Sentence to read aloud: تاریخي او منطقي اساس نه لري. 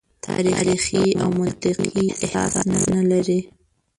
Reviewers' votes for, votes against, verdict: 0, 2, rejected